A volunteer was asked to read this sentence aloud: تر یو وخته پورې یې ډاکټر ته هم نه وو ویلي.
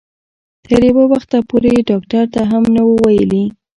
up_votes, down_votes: 2, 0